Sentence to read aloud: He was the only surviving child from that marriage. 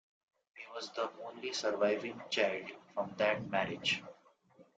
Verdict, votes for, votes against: rejected, 0, 2